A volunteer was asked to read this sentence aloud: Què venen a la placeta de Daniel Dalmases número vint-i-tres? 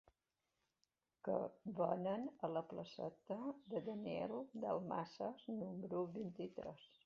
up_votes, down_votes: 1, 2